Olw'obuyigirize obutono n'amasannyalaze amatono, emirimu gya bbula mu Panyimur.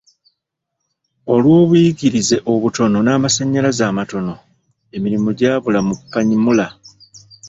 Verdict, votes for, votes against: rejected, 1, 2